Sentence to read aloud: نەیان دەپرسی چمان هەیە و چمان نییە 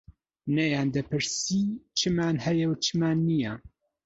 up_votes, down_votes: 3, 0